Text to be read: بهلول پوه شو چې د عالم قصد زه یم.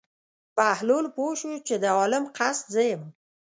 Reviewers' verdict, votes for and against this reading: accepted, 2, 0